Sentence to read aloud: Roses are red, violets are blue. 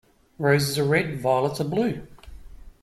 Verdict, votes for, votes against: rejected, 1, 2